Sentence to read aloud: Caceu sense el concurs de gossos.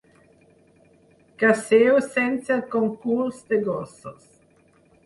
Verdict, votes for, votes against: accepted, 6, 0